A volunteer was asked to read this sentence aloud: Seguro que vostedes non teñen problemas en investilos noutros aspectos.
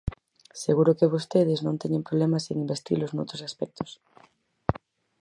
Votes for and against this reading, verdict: 4, 0, accepted